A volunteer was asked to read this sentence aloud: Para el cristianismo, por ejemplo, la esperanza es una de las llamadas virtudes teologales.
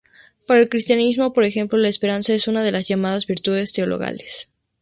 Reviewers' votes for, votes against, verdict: 2, 0, accepted